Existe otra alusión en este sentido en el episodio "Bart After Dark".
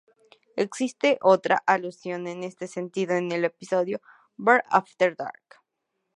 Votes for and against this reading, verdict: 2, 0, accepted